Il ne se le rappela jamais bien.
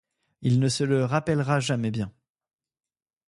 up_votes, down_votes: 1, 2